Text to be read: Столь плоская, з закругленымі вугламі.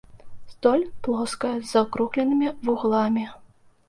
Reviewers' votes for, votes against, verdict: 2, 0, accepted